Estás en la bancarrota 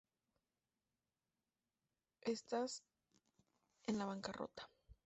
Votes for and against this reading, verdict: 2, 0, accepted